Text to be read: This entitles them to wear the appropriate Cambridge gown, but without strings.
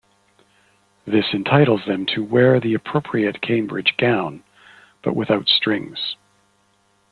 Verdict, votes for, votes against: accepted, 2, 0